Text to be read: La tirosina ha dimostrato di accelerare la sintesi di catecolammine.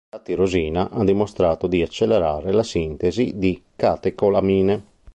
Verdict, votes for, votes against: rejected, 1, 2